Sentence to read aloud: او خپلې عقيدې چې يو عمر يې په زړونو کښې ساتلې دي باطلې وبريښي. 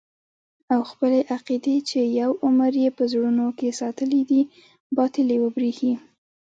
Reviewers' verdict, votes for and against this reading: rejected, 1, 2